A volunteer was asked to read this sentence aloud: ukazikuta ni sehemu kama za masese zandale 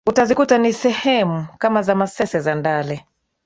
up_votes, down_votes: 2, 0